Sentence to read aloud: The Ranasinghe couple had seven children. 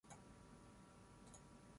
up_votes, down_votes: 0, 6